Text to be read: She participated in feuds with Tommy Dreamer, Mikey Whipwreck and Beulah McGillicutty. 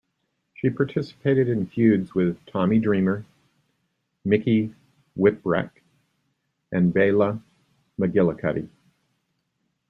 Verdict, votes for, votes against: rejected, 0, 2